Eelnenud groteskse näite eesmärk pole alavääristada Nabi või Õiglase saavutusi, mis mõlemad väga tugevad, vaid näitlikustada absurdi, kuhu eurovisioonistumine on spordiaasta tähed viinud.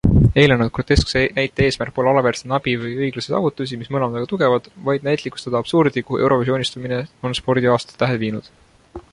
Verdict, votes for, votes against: accepted, 2, 1